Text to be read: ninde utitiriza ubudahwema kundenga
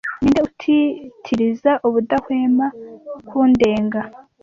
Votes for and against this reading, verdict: 2, 0, accepted